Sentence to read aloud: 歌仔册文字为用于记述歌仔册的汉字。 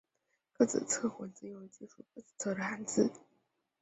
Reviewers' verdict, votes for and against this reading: rejected, 0, 2